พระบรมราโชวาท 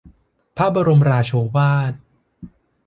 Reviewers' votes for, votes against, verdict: 2, 0, accepted